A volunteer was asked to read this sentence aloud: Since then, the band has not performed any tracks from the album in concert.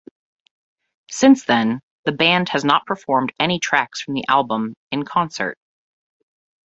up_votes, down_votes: 2, 0